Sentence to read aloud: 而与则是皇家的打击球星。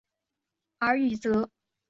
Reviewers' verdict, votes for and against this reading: rejected, 0, 4